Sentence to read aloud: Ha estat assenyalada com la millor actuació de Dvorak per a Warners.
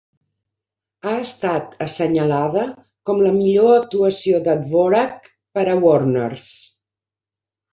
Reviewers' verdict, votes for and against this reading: rejected, 0, 2